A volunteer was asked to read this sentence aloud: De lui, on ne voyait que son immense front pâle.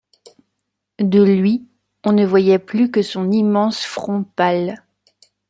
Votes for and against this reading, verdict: 0, 2, rejected